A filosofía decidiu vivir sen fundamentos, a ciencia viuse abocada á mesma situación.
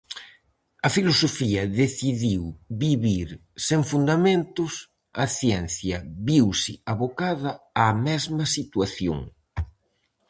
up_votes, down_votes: 4, 0